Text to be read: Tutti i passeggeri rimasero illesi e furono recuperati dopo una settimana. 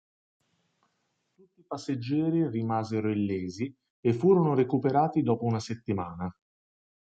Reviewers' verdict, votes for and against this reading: rejected, 1, 2